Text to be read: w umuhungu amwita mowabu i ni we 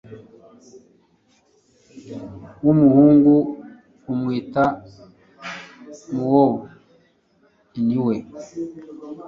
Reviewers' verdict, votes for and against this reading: rejected, 0, 2